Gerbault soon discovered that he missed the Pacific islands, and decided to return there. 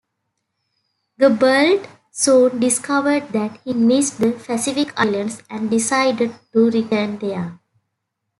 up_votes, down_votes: 2, 1